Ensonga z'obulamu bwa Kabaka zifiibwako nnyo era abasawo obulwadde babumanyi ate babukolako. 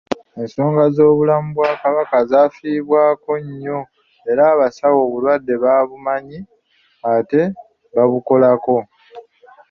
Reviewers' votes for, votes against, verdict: 2, 3, rejected